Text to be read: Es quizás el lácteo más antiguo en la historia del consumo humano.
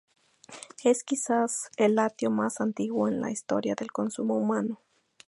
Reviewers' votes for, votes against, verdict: 2, 0, accepted